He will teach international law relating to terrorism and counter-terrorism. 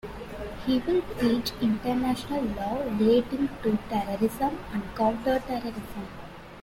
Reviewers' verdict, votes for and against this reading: rejected, 0, 2